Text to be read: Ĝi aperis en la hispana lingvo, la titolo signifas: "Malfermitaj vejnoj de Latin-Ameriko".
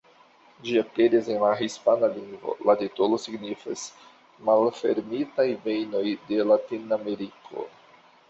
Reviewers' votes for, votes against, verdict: 2, 1, accepted